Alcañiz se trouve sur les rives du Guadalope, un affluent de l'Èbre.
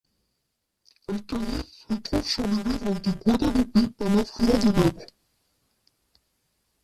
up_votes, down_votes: 0, 2